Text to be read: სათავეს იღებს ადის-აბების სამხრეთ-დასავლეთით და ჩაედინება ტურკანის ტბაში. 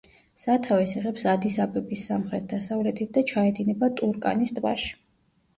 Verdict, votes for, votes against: accepted, 2, 0